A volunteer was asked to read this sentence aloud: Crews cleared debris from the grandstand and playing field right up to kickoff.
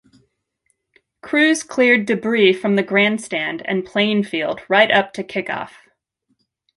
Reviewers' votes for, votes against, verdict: 2, 1, accepted